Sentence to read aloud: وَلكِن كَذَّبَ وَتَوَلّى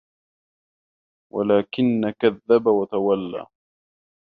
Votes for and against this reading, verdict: 1, 2, rejected